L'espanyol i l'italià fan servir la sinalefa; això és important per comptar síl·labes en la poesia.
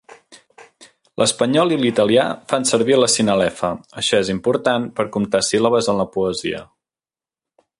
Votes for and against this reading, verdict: 1, 2, rejected